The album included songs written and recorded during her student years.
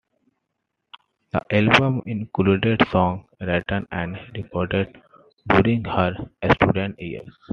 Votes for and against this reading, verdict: 2, 0, accepted